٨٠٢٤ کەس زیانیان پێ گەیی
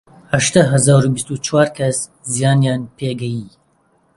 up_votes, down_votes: 0, 2